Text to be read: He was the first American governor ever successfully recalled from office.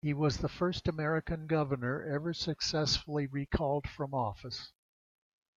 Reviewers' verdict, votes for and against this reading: accepted, 2, 0